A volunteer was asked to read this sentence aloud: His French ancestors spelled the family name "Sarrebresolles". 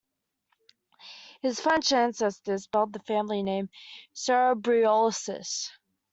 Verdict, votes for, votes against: rejected, 0, 2